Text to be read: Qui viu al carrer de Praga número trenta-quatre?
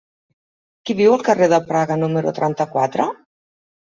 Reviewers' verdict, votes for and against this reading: accepted, 3, 0